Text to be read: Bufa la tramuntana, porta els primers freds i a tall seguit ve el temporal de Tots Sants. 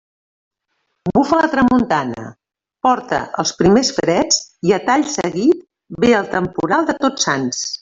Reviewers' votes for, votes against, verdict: 1, 2, rejected